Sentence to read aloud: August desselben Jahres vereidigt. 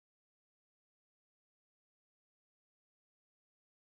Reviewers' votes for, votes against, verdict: 0, 4, rejected